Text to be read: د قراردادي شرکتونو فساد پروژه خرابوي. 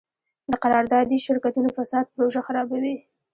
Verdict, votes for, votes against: accepted, 2, 1